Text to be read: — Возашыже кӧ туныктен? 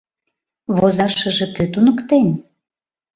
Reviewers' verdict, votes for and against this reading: accepted, 2, 0